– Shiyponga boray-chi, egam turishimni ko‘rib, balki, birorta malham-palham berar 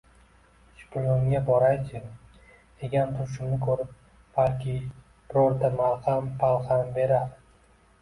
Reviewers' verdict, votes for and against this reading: accepted, 2, 0